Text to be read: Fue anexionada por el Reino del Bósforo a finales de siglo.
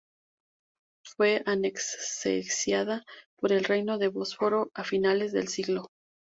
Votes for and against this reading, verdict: 2, 0, accepted